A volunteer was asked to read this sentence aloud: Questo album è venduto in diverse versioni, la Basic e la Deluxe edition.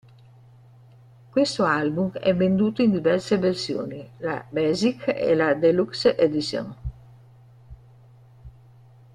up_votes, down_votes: 0, 2